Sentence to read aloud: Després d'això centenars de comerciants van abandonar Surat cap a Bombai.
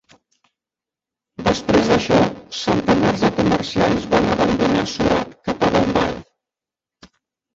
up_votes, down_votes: 1, 2